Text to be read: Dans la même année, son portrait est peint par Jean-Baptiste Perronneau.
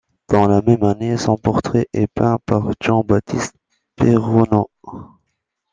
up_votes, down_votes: 1, 2